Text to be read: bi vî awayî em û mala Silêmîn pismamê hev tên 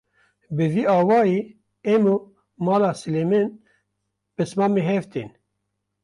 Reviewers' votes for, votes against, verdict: 0, 2, rejected